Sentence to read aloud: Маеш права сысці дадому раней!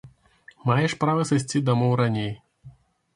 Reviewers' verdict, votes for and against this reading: rejected, 1, 2